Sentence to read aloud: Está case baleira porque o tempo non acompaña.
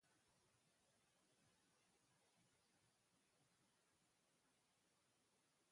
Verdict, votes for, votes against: rejected, 0, 2